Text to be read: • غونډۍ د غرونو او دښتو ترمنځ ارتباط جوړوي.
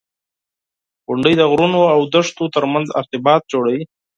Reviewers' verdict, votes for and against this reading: accepted, 6, 2